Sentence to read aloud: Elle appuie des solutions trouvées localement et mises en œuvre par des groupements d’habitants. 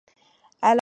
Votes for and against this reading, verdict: 0, 2, rejected